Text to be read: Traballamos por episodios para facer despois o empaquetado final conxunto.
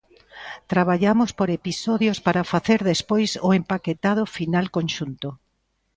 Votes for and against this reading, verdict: 2, 0, accepted